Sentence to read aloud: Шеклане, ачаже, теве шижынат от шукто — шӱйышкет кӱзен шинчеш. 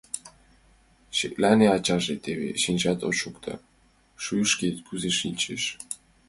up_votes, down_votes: 0, 2